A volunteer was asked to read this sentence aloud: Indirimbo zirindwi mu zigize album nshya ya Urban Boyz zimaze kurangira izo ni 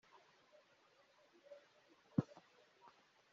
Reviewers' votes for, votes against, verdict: 0, 2, rejected